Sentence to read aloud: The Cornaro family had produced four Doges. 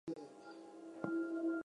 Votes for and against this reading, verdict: 0, 10, rejected